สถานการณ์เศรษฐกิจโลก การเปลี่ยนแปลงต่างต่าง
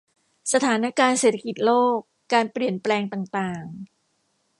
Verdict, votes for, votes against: accepted, 2, 0